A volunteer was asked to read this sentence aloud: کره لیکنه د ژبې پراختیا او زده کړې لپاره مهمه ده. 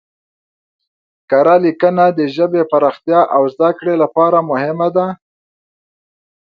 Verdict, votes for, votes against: accepted, 2, 0